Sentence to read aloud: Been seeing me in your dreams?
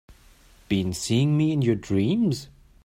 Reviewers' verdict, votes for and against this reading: accepted, 2, 0